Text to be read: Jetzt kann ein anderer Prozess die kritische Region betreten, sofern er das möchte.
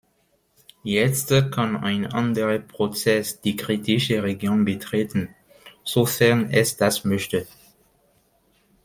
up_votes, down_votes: 0, 2